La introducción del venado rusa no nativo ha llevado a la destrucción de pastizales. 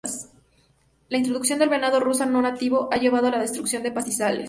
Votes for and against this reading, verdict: 2, 0, accepted